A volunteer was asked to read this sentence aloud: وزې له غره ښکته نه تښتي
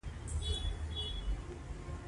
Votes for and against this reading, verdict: 0, 2, rejected